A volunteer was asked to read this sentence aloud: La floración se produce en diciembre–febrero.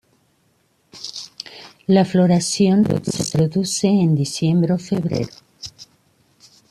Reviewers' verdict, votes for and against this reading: rejected, 1, 2